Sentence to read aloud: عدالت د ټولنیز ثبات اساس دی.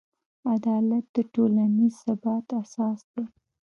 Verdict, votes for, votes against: rejected, 1, 2